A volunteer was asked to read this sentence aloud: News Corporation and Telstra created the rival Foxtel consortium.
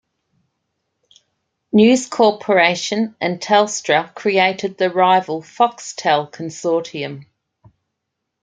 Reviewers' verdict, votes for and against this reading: accepted, 2, 1